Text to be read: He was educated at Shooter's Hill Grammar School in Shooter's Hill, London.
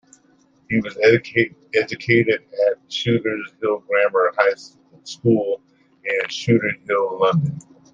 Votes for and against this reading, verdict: 1, 2, rejected